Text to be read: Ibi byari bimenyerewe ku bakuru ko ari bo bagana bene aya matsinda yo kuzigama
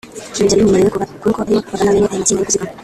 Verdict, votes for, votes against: rejected, 0, 2